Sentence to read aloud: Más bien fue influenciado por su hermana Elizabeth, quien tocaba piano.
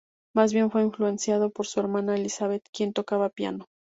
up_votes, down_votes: 4, 0